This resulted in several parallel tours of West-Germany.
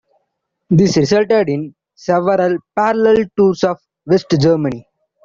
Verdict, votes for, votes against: accepted, 3, 2